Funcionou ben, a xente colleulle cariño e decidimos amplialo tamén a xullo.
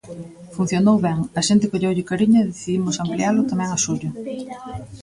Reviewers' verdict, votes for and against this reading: rejected, 1, 2